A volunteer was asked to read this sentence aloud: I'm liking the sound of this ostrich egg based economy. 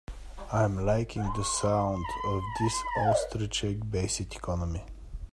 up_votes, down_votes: 1, 2